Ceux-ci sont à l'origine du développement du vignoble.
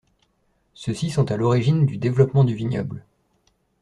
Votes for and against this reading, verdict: 2, 0, accepted